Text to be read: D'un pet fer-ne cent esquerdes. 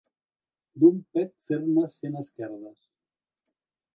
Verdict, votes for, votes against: rejected, 1, 2